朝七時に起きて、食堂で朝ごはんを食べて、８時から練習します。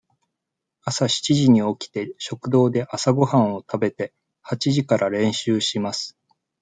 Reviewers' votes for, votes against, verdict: 0, 2, rejected